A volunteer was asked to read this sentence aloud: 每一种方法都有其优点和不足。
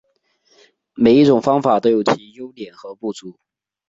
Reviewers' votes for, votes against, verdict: 2, 0, accepted